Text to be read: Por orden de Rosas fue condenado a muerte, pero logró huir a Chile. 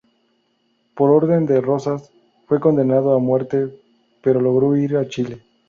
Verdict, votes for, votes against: accepted, 2, 0